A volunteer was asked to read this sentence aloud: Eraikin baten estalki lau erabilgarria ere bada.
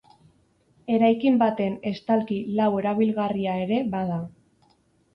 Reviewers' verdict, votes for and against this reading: accepted, 4, 0